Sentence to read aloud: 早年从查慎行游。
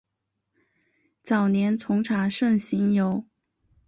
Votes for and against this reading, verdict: 2, 0, accepted